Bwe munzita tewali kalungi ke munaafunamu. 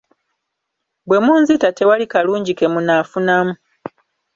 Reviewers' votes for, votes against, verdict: 2, 0, accepted